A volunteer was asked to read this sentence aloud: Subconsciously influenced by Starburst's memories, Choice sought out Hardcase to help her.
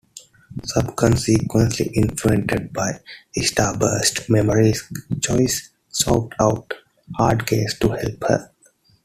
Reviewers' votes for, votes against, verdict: 2, 0, accepted